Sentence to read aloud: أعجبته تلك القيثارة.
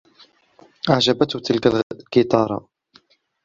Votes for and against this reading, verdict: 1, 2, rejected